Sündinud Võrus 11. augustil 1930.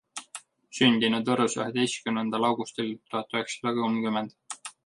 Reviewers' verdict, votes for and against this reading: rejected, 0, 2